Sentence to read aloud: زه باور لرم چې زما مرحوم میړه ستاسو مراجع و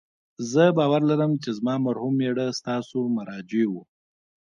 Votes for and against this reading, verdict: 1, 2, rejected